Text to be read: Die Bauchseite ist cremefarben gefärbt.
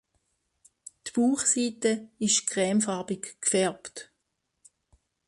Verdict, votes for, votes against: rejected, 0, 2